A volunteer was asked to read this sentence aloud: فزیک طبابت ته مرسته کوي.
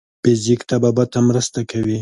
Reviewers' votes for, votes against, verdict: 2, 0, accepted